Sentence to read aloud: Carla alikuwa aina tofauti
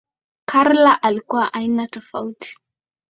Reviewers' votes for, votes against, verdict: 2, 1, accepted